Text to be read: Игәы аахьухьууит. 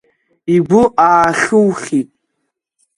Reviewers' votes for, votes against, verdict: 0, 2, rejected